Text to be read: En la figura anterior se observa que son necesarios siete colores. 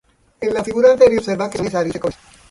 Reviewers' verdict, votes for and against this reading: rejected, 0, 2